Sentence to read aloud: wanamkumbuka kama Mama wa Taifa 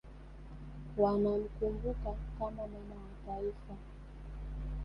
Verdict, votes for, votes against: rejected, 0, 2